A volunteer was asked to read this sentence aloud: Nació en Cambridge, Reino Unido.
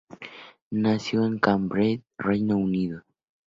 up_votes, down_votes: 2, 0